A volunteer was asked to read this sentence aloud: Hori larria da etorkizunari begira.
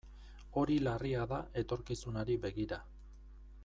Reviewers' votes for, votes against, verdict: 2, 0, accepted